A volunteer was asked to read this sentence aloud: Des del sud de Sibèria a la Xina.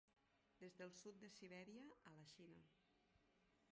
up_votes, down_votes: 1, 2